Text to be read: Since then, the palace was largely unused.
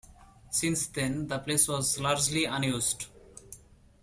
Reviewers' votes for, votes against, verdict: 2, 1, accepted